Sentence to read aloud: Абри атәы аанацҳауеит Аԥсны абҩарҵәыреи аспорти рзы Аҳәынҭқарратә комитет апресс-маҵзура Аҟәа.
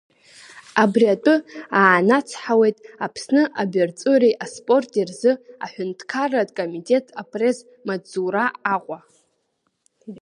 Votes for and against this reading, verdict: 0, 2, rejected